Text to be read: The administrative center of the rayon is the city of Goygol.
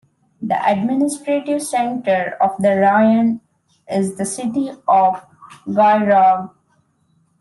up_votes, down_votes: 2, 0